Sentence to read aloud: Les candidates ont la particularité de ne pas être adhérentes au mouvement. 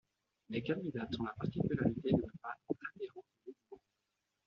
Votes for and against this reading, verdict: 1, 2, rejected